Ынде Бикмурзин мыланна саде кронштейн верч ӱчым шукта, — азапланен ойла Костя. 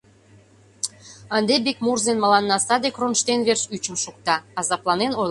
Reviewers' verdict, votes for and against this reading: rejected, 0, 2